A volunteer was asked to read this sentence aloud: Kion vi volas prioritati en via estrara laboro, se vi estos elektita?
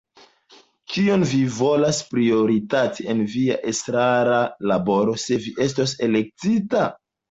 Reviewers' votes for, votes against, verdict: 2, 0, accepted